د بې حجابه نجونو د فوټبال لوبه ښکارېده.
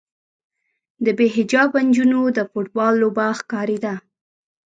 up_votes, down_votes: 0, 2